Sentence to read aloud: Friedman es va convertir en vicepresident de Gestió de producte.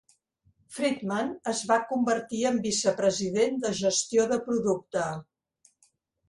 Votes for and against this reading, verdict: 2, 0, accepted